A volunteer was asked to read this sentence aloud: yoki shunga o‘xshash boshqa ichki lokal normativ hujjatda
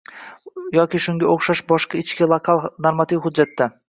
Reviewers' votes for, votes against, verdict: 1, 2, rejected